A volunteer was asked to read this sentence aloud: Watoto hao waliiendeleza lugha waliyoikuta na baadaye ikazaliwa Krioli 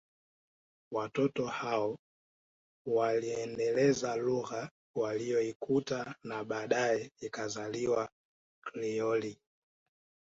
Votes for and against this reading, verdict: 1, 2, rejected